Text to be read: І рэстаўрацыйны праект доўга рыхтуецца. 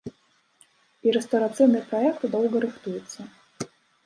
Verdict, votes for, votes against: rejected, 1, 2